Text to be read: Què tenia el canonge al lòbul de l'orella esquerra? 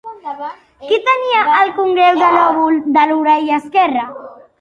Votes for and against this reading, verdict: 1, 2, rejected